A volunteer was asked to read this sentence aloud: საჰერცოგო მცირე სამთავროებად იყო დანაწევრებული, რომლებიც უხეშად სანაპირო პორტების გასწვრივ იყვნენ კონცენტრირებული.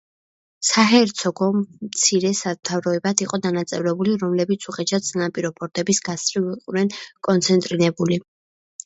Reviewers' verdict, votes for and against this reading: rejected, 1, 2